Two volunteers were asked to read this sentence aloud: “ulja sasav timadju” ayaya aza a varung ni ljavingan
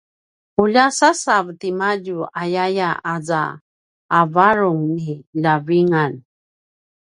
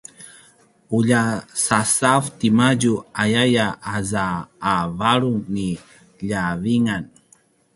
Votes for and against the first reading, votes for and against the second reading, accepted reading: 0, 2, 2, 0, second